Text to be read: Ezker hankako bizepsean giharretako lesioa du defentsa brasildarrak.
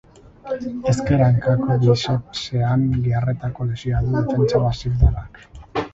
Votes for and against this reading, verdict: 0, 6, rejected